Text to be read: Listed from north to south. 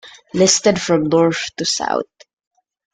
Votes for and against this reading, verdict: 2, 0, accepted